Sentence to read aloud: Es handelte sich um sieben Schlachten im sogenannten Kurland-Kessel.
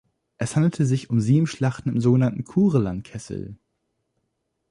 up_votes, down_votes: 1, 2